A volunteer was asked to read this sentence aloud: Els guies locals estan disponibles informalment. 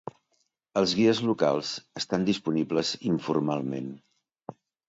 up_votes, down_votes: 2, 0